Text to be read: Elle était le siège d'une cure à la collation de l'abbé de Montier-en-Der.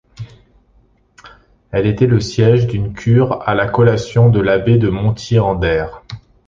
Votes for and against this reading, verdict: 2, 0, accepted